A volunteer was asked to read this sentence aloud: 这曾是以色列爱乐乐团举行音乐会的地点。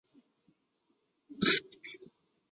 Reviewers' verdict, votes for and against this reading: rejected, 0, 2